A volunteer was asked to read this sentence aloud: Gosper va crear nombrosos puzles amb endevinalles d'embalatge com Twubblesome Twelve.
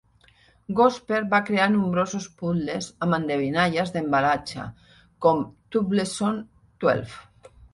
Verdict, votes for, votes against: accepted, 2, 1